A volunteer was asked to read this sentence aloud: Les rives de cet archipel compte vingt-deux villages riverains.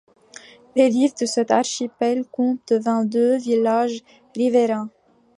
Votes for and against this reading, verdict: 2, 0, accepted